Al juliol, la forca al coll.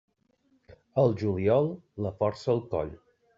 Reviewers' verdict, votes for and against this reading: rejected, 0, 2